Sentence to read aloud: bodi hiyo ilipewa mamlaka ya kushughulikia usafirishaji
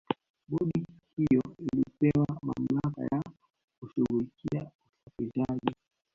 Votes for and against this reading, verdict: 0, 3, rejected